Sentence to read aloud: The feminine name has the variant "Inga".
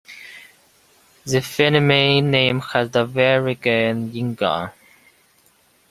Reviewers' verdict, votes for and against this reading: rejected, 0, 2